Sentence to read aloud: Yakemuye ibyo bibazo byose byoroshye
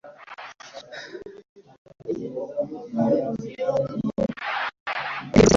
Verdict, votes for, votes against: accepted, 2, 0